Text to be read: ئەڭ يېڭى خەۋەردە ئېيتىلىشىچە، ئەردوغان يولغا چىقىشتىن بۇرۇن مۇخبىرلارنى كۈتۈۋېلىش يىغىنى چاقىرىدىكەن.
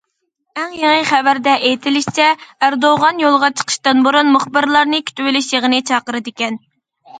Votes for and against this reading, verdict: 2, 0, accepted